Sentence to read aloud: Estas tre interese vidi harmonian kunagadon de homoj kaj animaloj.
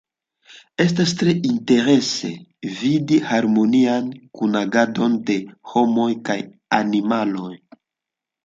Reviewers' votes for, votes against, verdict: 3, 1, accepted